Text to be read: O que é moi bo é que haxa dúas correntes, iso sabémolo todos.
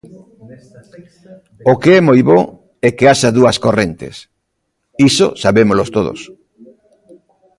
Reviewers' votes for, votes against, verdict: 0, 3, rejected